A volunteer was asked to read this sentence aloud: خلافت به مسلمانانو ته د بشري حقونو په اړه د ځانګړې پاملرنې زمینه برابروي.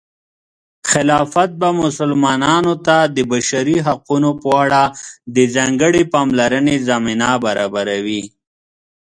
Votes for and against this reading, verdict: 2, 0, accepted